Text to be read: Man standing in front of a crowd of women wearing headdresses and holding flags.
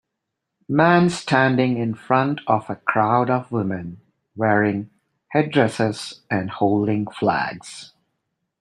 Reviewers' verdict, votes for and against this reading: accepted, 3, 0